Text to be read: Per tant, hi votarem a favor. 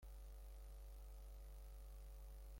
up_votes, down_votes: 0, 3